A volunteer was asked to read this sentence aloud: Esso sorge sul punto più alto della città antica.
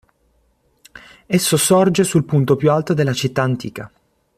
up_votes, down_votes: 2, 0